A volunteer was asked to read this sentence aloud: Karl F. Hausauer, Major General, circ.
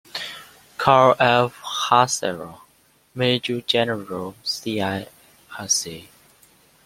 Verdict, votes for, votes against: rejected, 1, 2